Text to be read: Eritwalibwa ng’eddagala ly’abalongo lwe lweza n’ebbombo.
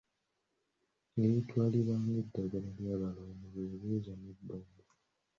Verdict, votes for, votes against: accepted, 2, 0